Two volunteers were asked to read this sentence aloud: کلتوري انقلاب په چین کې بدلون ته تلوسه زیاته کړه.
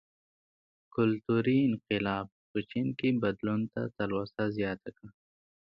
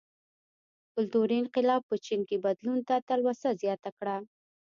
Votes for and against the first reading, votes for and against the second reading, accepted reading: 2, 0, 1, 2, first